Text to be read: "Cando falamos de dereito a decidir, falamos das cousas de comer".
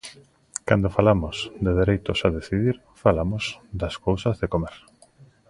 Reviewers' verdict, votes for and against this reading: rejected, 1, 2